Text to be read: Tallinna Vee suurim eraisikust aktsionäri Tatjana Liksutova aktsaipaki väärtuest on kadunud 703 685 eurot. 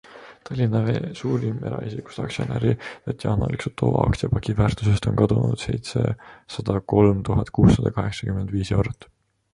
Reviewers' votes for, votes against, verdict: 0, 2, rejected